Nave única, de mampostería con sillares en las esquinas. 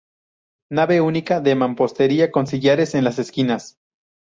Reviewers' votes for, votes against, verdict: 2, 0, accepted